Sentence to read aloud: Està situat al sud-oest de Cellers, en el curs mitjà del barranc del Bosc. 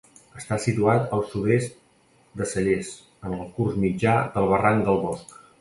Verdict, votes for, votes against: rejected, 1, 2